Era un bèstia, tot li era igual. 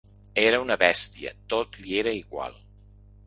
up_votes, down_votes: 0, 2